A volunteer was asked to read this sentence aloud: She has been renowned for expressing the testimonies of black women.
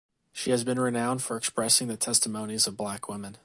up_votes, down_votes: 2, 0